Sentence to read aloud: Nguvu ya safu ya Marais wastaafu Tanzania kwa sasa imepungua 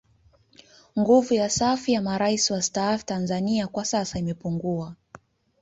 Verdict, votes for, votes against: accepted, 2, 0